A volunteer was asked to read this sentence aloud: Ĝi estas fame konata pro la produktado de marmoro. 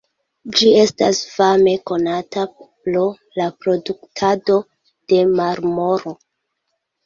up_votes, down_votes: 1, 2